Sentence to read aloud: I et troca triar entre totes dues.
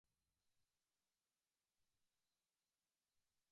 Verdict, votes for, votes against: rejected, 0, 2